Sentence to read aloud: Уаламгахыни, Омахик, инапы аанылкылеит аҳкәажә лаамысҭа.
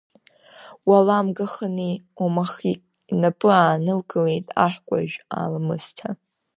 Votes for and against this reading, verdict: 0, 2, rejected